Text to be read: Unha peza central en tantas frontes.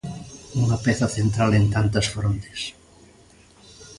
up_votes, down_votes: 2, 0